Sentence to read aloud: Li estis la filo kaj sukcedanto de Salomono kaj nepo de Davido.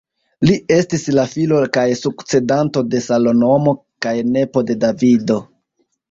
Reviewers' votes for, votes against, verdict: 1, 2, rejected